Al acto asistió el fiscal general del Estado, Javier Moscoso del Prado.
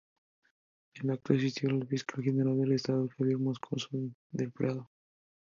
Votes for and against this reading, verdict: 0, 4, rejected